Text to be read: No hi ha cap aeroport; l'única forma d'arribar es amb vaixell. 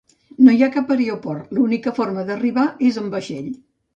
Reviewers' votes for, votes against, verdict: 0, 2, rejected